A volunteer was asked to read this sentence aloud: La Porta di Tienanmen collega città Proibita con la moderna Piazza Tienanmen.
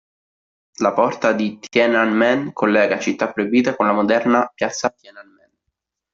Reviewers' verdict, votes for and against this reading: rejected, 0, 2